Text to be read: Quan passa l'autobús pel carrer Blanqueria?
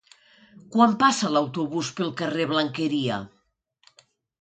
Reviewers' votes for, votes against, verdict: 2, 0, accepted